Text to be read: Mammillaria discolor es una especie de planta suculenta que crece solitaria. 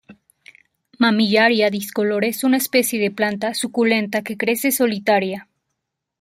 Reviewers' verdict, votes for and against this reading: rejected, 1, 2